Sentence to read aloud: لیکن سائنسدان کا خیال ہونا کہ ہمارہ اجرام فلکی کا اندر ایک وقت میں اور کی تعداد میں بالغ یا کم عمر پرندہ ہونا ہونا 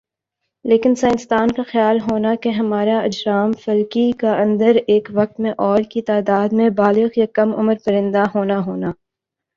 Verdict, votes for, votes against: accepted, 2, 0